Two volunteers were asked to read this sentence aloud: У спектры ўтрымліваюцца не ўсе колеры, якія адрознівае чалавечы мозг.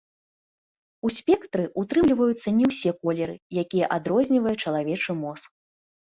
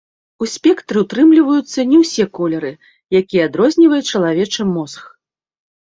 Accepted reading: first